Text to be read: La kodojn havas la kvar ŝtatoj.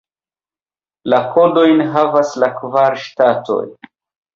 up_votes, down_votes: 0, 2